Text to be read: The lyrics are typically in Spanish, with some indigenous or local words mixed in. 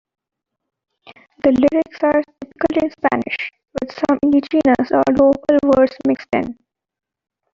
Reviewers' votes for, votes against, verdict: 2, 1, accepted